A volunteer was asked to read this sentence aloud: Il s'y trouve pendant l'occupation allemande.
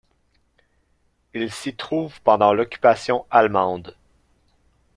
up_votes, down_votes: 2, 0